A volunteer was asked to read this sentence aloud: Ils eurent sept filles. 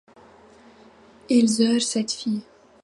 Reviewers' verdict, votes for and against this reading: rejected, 1, 2